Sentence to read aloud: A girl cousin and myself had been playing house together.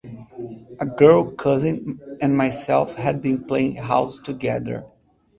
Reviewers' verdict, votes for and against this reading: accepted, 2, 0